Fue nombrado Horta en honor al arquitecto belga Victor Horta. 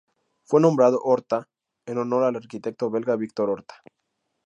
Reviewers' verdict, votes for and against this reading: accepted, 2, 0